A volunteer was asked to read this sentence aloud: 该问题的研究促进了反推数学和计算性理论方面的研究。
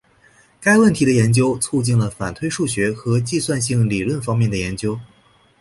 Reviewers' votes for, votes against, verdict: 5, 2, accepted